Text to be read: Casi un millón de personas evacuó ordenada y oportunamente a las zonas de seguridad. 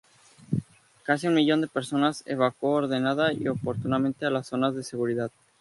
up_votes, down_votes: 6, 0